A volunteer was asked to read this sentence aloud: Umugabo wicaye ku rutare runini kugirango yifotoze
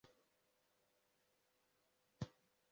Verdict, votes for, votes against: rejected, 0, 2